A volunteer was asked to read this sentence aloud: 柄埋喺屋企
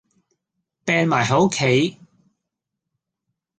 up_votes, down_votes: 2, 0